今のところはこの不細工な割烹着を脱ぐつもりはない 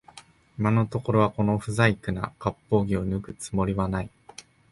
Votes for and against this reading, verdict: 2, 0, accepted